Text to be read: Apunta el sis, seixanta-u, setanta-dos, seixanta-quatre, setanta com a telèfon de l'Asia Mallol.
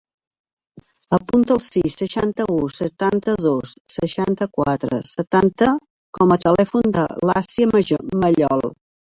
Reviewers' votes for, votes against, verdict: 0, 3, rejected